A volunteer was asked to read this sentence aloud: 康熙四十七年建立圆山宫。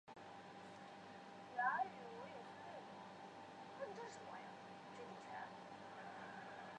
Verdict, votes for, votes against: rejected, 0, 3